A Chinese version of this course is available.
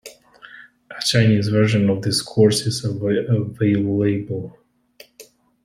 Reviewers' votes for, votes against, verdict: 0, 2, rejected